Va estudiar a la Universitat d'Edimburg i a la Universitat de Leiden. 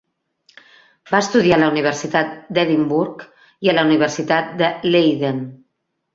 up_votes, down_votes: 3, 0